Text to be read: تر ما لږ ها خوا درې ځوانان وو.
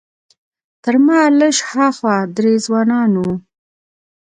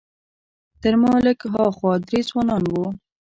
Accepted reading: first